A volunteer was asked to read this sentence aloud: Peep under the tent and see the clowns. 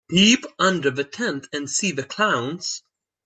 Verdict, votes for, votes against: accepted, 2, 0